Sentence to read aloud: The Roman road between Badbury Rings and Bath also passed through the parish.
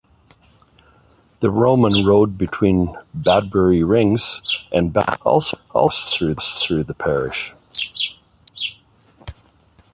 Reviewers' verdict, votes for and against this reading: rejected, 0, 2